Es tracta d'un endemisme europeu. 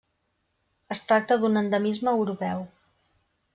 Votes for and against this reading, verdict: 3, 0, accepted